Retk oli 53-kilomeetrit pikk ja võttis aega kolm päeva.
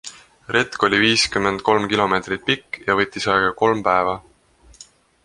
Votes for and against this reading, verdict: 0, 2, rejected